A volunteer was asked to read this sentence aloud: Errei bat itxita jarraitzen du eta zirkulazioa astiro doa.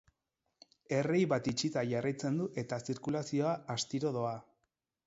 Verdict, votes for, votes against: rejected, 0, 4